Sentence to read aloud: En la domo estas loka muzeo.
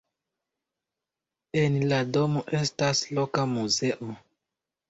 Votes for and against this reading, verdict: 2, 0, accepted